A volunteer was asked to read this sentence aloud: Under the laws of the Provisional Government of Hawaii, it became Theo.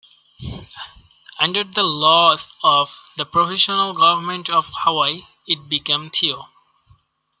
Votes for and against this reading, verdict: 2, 0, accepted